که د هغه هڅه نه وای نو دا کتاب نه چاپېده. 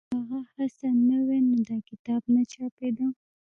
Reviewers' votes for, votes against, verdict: 1, 2, rejected